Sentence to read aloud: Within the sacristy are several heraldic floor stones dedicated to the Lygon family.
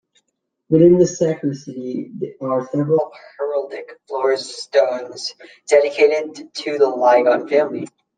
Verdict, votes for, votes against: rejected, 0, 2